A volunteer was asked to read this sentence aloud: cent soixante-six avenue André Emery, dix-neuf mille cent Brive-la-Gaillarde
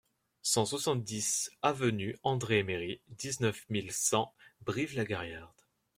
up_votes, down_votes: 0, 2